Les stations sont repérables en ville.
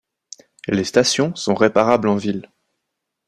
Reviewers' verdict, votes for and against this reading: rejected, 1, 2